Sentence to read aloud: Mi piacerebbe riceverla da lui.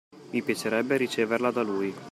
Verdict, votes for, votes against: accepted, 2, 1